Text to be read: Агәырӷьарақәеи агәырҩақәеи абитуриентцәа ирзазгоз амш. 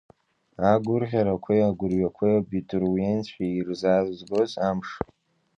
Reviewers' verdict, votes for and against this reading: accepted, 2, 1